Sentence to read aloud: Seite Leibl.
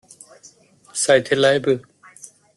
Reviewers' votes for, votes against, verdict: 1, 2, rejected